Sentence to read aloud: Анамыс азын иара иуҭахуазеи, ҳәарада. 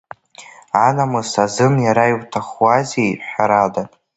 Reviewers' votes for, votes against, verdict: 2, 1, accepted